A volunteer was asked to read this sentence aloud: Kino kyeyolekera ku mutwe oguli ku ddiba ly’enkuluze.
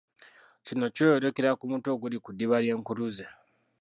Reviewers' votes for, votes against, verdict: 2, 0, accepted